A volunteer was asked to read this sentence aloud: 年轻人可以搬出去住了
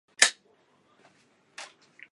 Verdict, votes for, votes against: rejected, 0, 3